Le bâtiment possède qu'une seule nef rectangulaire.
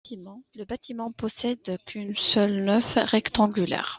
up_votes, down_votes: 0, 2